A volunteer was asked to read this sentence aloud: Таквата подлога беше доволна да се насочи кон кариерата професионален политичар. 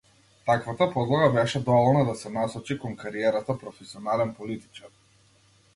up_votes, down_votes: 2, 0